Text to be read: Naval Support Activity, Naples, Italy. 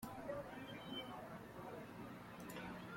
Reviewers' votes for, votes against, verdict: 0, 2, rejected